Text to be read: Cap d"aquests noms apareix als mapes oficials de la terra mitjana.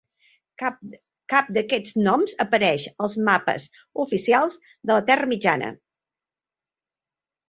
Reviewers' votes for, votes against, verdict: 0, 2, rejected